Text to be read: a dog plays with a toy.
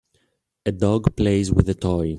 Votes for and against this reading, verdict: 2, 0, accepted